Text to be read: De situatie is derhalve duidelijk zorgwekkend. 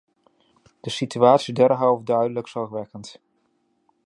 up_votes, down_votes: 0, 2